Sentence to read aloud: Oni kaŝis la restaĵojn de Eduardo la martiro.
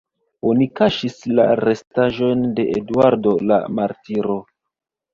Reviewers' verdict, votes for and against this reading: accepted, 2, 1